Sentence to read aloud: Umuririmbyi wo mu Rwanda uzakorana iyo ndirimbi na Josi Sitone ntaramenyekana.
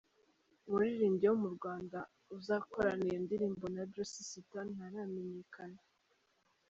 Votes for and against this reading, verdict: 1, 2, rejected